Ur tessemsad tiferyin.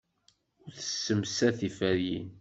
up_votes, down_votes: 1, 2